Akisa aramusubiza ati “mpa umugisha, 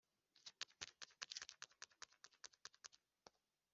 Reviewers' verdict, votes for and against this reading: rejected, 0, 3